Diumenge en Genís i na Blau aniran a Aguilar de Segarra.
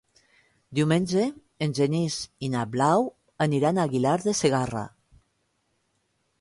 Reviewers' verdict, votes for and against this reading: rejected, 1, 2